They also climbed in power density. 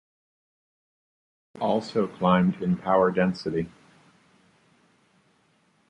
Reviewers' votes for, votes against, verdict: 1, 2, rejected